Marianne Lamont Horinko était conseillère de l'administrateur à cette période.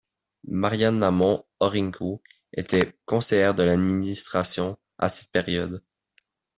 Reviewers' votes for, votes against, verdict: 0, 2, rejected